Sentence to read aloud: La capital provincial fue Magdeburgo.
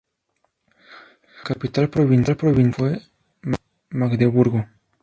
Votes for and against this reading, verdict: 0, 2, rejected